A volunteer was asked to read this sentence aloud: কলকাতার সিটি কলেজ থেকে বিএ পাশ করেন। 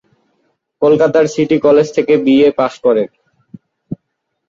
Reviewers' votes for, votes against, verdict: 2, 1, accepted